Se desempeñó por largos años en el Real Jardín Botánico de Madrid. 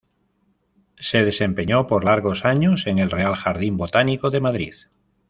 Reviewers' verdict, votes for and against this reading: accepted, 2, 0